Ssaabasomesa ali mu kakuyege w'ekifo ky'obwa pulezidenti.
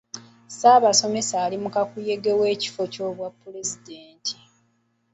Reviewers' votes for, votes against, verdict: 3, 1, accepted